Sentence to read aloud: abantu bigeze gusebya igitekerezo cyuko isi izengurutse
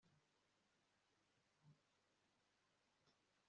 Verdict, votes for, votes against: rejected, 1, 2